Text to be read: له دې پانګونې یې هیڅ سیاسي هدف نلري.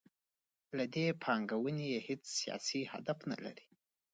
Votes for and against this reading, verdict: 2, 1, accepted